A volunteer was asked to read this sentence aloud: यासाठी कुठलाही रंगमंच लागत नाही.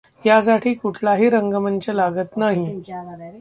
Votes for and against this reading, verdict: 0, 2, rejected